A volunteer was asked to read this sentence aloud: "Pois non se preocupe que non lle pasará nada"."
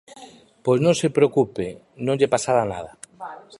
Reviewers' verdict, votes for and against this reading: rejected, 0, 2